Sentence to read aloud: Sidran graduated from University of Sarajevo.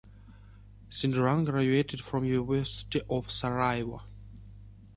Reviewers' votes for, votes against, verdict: 2, 0, accepted